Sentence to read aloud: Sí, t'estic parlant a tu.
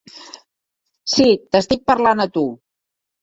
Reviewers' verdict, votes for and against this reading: accepted, 3, 0